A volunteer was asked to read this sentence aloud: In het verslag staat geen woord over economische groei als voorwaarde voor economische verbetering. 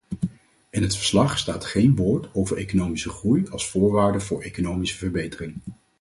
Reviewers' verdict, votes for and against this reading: accepted, 4, 0